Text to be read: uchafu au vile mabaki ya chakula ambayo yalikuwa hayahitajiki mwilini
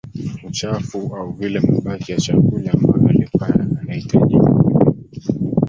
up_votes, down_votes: 0, 2